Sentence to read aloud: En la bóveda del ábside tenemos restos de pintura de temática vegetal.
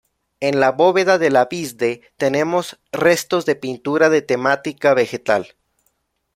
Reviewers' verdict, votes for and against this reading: rejected, 0, 2